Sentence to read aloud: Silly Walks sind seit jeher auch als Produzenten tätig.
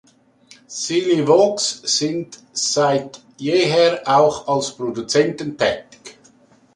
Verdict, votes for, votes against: rejected, 1, 2